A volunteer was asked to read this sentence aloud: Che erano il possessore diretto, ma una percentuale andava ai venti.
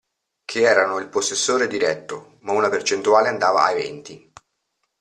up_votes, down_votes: 2, 0